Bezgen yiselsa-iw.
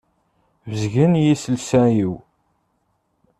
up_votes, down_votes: 2, 0